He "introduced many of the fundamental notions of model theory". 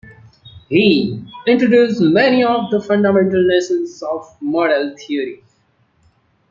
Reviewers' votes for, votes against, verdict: 0, 2, rejected